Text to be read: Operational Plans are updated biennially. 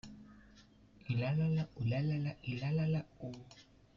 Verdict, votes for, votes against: rejected, 0, 2